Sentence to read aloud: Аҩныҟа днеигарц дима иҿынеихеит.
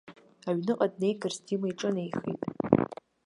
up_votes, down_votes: 0, 2